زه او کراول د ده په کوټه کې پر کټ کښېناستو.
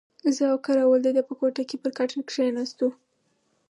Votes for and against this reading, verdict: 4, 2, accepted